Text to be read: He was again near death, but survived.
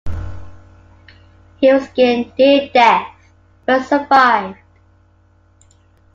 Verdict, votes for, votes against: accepted, 2, 1